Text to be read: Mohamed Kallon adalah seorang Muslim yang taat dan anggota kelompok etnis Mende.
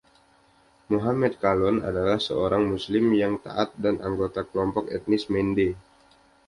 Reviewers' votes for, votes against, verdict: 2, 0, accepted